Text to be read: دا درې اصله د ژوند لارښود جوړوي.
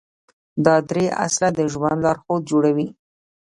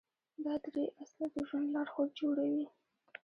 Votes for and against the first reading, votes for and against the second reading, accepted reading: 1, 2, 2, 0, second